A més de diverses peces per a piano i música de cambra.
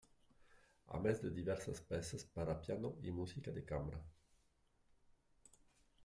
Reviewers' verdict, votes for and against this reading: rejected, 0, 2